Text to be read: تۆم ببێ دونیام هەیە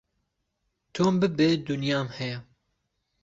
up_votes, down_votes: 2, 0